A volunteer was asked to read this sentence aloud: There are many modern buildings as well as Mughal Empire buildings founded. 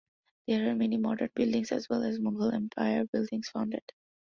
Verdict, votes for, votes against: accepted, 2, 0